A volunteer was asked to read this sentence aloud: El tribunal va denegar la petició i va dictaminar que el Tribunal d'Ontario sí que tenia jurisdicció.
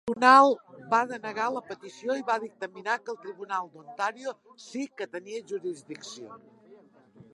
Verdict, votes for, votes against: rejected, 0, 2